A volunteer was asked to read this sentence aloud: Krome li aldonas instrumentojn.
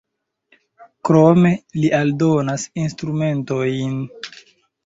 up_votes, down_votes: 2, 1